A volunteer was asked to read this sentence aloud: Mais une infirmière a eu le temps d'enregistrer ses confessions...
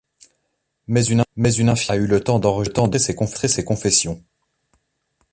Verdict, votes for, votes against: rejected, 0, 2